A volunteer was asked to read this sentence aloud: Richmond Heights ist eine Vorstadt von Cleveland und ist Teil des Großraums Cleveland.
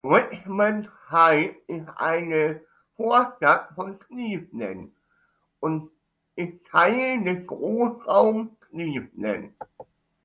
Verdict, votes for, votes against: rejected, 1, 2